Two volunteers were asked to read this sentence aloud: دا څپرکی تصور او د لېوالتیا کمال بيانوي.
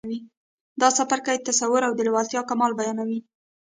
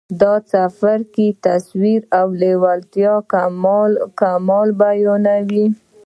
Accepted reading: first